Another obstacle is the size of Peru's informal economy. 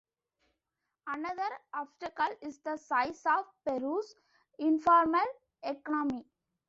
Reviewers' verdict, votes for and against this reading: accepted, 2, 0